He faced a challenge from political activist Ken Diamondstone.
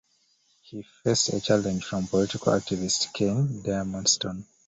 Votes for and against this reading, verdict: 2, 1, accepted